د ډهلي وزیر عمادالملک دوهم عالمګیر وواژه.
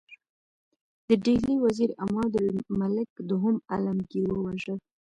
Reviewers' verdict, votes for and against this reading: rejected, 0, 2